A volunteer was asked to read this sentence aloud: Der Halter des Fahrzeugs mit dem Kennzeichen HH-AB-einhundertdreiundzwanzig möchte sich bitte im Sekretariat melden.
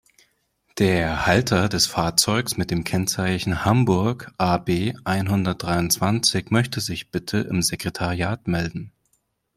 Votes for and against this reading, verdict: 0, 2, rejected